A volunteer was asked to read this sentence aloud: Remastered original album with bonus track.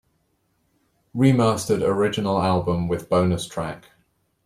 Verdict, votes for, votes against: accepted, 2, 0